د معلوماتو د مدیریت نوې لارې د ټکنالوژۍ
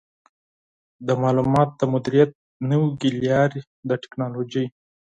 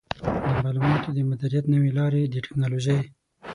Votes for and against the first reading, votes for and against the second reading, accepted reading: 4, 6, 6, 0, second